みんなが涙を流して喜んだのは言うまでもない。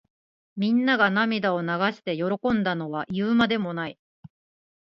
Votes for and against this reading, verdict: 0, 2, rejected